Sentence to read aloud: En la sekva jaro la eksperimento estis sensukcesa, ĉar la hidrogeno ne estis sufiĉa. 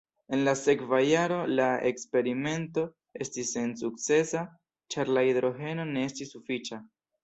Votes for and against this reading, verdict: 1, 2, rejected